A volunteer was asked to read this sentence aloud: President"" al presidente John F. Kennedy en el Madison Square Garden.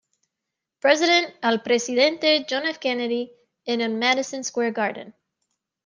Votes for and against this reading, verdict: 2, 0, accepted